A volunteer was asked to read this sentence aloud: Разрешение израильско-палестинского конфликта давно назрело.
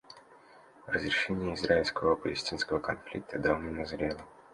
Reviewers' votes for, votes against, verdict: 0, 2, rejected